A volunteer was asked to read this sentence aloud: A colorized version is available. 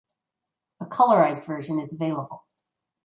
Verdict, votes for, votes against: accepted, 2, 0